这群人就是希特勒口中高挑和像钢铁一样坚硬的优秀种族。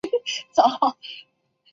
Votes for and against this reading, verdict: 2, 4, rejected